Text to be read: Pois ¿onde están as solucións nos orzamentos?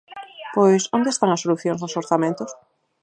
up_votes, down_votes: 2, 4